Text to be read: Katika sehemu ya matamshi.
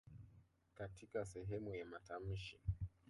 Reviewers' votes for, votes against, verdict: 2, 0, accepted